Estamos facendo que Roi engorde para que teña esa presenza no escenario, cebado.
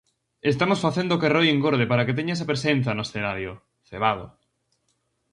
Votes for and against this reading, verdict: 4, 0, accepted